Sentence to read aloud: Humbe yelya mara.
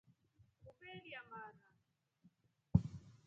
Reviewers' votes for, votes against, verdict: 2, 4, rejected